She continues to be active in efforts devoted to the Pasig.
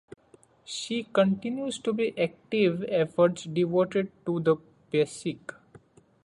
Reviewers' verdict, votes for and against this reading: rejected, 1, 2